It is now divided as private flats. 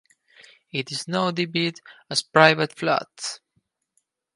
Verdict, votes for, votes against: rejected, 2, 4